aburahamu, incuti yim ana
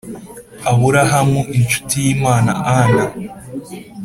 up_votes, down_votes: 1, 2